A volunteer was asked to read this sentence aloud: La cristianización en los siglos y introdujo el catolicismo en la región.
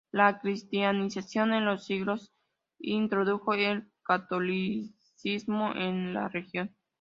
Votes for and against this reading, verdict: 3, 2, accepted